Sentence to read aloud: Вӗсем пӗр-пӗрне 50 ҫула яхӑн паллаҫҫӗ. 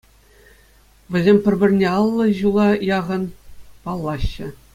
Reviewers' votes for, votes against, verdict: 0, 2, rejected